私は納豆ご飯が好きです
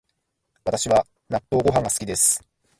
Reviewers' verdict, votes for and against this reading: rejected, 1, 2